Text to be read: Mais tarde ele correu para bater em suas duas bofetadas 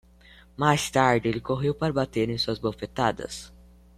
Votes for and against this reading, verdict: 1, 2, rejected